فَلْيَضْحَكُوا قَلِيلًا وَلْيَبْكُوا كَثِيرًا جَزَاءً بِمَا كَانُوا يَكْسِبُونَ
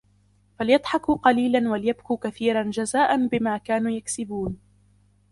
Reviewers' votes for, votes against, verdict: 2, 1, accepted